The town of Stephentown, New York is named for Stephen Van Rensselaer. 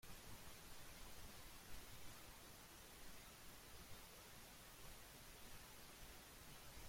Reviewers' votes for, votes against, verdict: 0, 2, rejected